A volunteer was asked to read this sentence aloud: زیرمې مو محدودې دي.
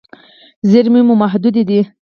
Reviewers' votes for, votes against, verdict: 2, 4, rejected